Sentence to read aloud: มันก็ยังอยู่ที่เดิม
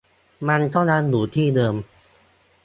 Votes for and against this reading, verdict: 2, 0, accepted